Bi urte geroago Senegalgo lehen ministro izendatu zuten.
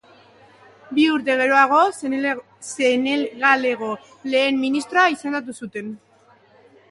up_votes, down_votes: 1, 4